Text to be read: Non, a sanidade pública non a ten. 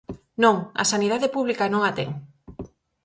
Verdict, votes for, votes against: accepted, 4, 0